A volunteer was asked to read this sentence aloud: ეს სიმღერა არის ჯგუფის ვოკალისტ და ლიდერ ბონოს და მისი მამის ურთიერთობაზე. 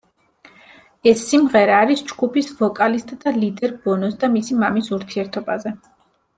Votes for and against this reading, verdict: 2, 0, accepted